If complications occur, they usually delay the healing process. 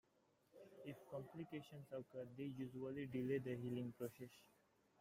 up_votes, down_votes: 0, 2